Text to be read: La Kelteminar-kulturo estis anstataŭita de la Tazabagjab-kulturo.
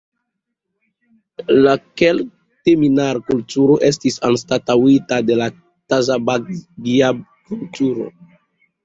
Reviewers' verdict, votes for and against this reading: rejected, 0, 3